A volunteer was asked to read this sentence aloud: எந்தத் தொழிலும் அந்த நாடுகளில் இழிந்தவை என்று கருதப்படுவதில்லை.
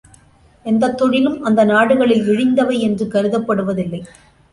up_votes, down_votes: 2, 0